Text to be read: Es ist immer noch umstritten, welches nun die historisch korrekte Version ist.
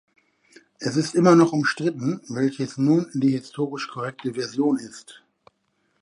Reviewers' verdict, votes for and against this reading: accepted, 2, 0